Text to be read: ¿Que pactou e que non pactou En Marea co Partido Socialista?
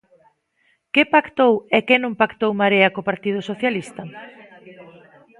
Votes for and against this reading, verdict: 1, 2, rejected